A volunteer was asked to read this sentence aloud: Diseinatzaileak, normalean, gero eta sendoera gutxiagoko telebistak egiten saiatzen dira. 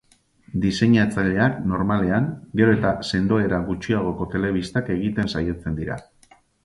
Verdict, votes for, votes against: rejected, 2, 2